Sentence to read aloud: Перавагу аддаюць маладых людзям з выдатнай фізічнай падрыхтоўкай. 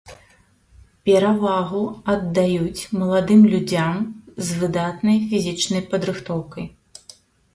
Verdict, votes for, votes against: rejected, 1, 2